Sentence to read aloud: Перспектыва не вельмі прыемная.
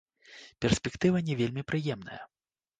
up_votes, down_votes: 2, 0